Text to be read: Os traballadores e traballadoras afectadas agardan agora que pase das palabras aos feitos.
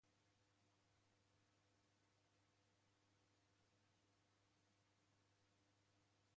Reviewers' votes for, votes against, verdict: 0, 3, rejected